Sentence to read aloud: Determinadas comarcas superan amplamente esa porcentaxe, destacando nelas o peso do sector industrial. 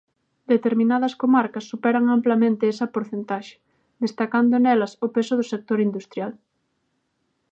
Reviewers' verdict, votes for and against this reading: accepted, 3, 0